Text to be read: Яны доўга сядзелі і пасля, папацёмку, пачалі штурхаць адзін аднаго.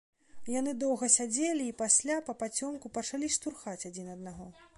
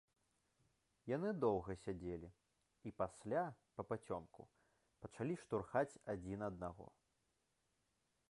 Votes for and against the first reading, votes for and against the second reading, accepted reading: 2, 0, 0, 2, first